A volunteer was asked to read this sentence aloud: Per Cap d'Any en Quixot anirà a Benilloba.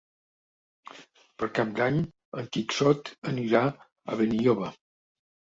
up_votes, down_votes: 1, 2